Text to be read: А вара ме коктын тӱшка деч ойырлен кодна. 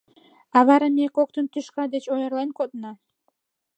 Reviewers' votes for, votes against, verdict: 2, 0, accepted